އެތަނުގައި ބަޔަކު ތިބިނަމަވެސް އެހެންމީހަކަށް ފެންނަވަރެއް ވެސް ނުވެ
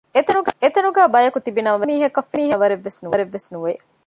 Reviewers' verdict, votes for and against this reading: rejected, 0, 2